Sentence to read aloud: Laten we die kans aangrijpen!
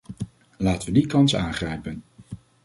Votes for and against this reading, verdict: 2, 0, accepted